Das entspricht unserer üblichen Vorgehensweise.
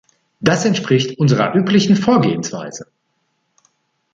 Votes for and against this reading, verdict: 3, 1, accepted